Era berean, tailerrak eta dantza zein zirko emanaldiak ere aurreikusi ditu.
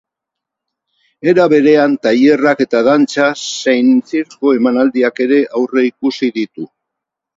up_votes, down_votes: 6, 0